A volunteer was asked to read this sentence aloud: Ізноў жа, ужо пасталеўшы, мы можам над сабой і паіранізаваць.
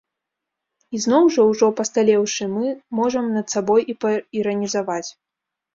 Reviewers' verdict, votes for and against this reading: rejected, 1, 2